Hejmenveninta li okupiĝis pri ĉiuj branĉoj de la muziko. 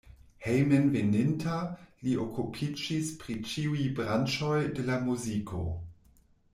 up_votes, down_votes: 2, 0